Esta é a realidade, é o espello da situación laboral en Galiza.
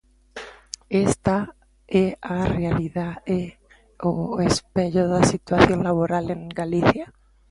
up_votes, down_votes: 0, 2